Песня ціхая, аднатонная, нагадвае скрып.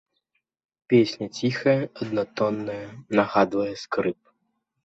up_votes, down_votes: 2, 0